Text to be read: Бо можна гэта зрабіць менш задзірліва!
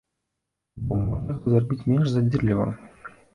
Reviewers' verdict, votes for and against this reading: rejected, 1, 3